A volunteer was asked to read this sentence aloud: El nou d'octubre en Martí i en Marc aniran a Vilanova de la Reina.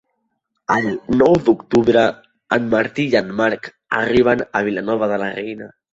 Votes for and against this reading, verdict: 0, 2, rejected